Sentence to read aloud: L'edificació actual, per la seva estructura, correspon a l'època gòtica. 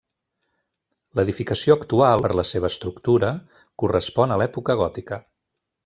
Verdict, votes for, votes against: accepted, 3, 0